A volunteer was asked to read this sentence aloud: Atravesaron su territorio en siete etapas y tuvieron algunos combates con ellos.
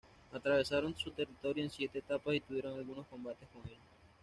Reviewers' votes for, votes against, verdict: 2, 0, accepted